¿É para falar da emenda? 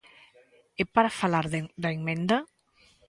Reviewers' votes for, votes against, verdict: 1, 2, rejected